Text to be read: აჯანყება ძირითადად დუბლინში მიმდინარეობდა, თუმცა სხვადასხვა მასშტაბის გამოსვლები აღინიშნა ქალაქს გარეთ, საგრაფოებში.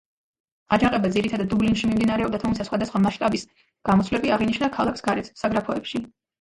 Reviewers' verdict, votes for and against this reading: rejected, 1, 2